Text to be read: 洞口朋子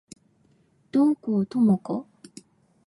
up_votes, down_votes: 2, 0